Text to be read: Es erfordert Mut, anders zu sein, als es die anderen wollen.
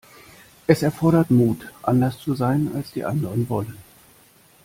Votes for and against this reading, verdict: 0, 2, rejected